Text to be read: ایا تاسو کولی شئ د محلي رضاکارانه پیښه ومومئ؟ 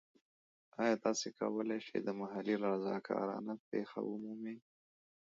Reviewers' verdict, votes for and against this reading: accepted, 2, 1